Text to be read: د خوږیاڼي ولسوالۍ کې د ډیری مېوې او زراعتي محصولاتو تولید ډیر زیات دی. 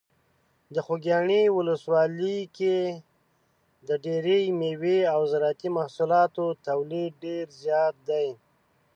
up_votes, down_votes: 0, 2